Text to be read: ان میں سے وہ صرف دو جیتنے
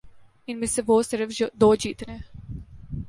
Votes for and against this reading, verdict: 1, 2, rejected